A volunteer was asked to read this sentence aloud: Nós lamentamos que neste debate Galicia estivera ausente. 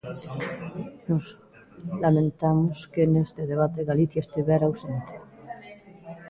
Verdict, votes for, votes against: rejected, 0, 2